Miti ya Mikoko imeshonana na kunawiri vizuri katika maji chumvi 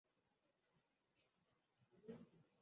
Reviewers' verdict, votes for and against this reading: rejected, 0, 2